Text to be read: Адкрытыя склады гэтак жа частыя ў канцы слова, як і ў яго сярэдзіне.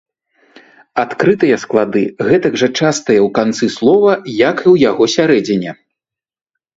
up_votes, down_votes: 1, 2